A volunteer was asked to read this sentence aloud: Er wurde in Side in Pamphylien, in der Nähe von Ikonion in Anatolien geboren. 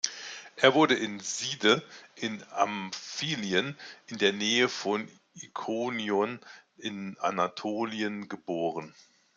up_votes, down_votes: 1, 2